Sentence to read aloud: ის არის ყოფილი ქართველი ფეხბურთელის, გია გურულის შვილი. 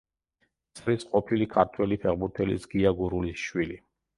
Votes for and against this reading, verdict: 0, 2, rejected